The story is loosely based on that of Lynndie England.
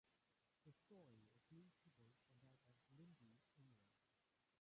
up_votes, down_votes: 0, 2